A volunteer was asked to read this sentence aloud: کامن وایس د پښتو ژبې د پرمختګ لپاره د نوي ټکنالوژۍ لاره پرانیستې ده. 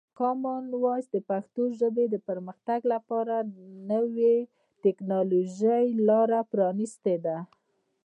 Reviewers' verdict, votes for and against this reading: rejected, 1, 2